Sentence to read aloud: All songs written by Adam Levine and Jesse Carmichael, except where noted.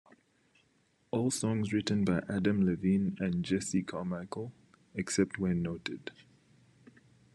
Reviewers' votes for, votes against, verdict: 2, 0, accepted